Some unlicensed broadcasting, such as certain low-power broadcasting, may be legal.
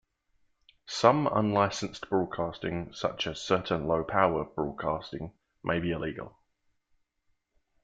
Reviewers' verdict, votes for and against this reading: rejected, 0, 2